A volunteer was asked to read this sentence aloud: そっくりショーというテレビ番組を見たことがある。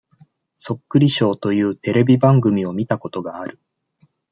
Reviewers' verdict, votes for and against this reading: accepted, 2, 0